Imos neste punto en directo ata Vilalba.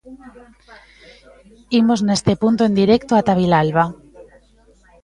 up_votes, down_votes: 1, 2